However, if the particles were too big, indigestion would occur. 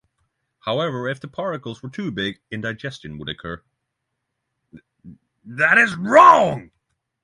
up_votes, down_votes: 3, 6